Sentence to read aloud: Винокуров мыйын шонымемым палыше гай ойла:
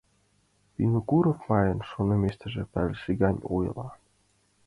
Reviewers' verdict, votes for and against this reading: rejected, 0, 2